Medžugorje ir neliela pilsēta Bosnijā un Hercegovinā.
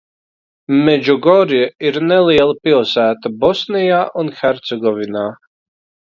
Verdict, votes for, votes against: accepted, 2, 0